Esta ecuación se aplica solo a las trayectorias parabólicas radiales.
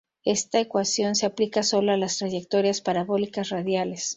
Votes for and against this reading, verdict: 0, 2, rejected